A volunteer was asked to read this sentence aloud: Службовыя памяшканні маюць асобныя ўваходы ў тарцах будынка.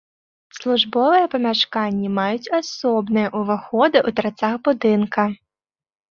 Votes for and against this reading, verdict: 2, 0, accepted